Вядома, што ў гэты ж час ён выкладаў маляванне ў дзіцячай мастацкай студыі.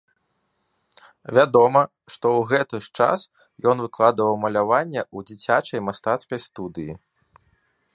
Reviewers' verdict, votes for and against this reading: rejected, 1, 2